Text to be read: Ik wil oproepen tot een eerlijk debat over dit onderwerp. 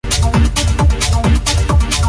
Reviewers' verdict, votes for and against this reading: rejected, 0, 2